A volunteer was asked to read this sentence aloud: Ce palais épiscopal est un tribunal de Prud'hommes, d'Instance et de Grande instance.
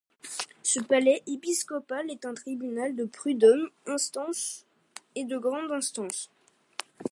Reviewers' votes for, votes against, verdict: 0, 2, rejected